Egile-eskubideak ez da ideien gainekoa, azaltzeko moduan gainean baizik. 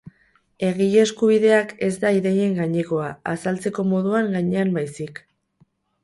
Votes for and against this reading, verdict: 2, 2, rejected